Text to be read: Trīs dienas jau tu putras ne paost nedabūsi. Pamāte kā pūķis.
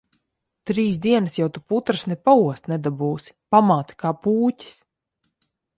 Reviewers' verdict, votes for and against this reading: accepted, 2, 0